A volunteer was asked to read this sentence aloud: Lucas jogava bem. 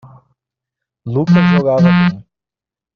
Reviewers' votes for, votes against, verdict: 1, 2, rejected